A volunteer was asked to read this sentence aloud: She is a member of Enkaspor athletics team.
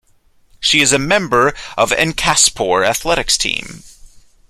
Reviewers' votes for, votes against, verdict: 2, 0, accepted